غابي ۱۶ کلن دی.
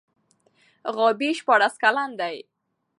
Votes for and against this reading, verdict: 0, 2, rejected